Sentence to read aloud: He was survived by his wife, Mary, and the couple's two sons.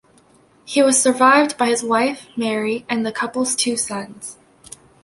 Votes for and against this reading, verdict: 2, 0, accepted